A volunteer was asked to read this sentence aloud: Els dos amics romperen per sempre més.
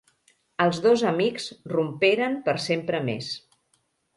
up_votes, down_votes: 3, 0